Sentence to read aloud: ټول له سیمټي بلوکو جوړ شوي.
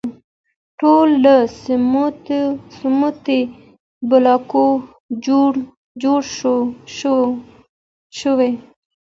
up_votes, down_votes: 1, 2